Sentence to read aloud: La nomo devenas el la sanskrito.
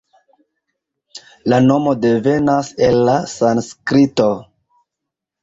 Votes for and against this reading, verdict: 2, 1, accepted